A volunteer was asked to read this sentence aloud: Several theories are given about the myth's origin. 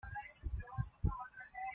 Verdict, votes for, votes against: rejected, 0, 2